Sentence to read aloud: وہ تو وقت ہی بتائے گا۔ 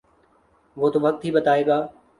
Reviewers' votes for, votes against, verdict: 4, 0, accepted